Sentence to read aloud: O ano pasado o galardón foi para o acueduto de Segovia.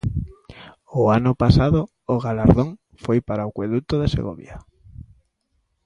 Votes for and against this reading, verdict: 2, 0, accepted